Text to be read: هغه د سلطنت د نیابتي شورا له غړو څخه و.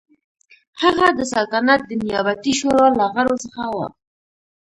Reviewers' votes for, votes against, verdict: 2, 0, accepted